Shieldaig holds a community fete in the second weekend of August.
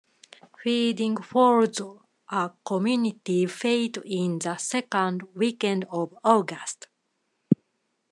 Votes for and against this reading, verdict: 0, 2, rejected